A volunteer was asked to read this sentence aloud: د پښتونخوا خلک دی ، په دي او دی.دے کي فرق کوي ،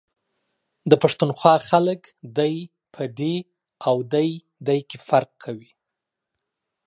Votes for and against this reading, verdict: 2, 0, accepted